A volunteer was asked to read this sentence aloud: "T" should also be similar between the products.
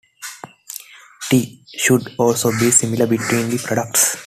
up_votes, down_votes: 2, 0